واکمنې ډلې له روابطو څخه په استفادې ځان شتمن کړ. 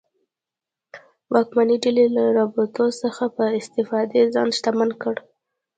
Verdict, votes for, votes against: accepted, 2, 1